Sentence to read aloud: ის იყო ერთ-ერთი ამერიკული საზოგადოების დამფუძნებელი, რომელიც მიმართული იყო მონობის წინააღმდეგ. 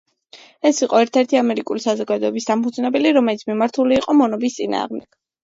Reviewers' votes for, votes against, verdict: 0, 2, rejected